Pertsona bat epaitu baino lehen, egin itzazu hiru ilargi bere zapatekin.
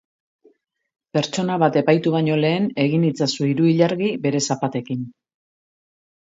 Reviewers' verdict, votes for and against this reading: accepted, 4, 1